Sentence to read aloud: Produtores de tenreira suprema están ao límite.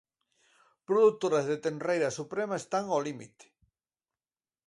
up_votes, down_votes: 0, 2